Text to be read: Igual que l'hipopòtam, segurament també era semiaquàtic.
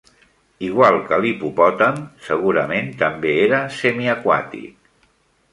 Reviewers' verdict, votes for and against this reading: accepted, 2, 0